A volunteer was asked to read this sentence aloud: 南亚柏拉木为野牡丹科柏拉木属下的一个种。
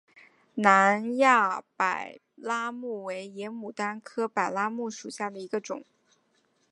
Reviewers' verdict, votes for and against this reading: accepted, 3, 1